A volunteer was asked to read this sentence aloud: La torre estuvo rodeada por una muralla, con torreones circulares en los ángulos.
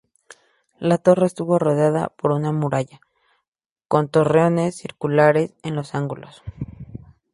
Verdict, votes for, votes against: accepted, 2, 0